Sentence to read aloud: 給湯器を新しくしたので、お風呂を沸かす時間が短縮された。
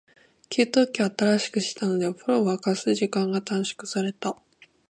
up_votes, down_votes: 2, 0